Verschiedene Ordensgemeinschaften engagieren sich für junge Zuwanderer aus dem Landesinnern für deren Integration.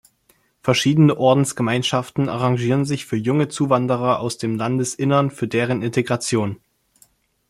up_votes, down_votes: 0, 2